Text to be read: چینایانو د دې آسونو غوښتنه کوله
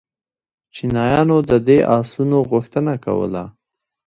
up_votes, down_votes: 1, 2